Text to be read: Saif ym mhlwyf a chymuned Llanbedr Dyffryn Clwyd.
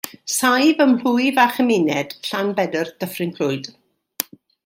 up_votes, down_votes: 2, 0